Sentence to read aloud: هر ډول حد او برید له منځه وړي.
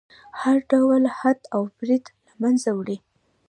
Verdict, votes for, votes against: rejected, 0, 2